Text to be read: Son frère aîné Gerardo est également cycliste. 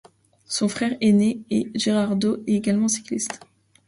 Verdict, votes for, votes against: rejected, 0, 2